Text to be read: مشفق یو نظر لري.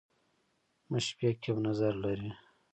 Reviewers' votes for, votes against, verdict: 0, 2, rejected